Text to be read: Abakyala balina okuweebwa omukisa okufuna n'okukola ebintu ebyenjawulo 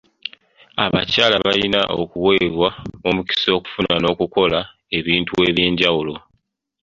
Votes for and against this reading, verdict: 1, 2, rejected